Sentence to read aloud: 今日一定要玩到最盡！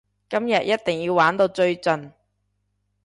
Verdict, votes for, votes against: accepted, 2, 0